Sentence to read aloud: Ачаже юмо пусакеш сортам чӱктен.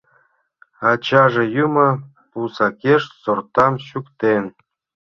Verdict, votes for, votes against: accepted, 3, 0